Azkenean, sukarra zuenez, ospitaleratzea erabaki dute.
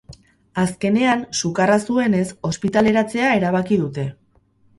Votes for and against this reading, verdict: 0, 2, rejected